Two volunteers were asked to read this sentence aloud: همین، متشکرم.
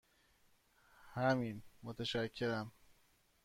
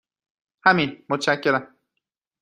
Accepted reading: second